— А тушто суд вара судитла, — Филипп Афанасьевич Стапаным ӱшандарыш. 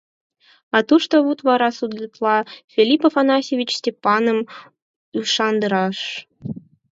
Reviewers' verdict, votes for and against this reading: rejected, 0, 4